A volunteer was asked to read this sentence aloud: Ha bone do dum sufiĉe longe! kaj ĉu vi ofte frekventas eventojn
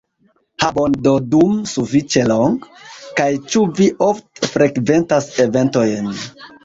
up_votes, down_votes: 0, 2